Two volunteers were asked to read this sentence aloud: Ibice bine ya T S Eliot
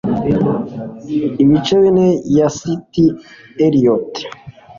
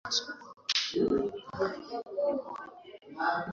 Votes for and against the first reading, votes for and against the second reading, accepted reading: 2, 0, 0, 2, first